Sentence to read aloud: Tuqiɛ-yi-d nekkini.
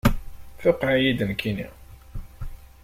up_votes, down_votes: 2, 0